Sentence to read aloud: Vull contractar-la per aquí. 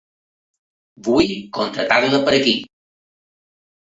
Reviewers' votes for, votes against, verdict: 2, 0, accepted